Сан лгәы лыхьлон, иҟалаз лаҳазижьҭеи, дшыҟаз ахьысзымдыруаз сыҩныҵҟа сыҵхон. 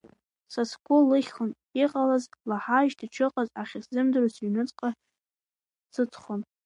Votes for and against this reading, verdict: 0, 2, rejected